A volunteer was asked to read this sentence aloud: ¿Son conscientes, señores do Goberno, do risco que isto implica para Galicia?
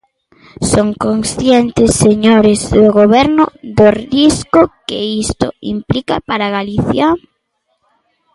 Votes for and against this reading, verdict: 2, 0, accepted